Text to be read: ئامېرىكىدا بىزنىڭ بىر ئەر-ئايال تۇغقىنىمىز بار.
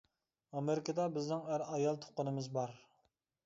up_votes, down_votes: 0, 2